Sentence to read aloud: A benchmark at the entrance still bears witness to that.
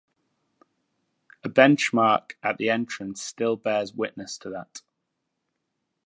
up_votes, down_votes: 2, 0